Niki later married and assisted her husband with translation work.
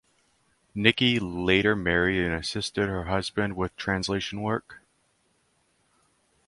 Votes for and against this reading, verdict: 4, 0, accepted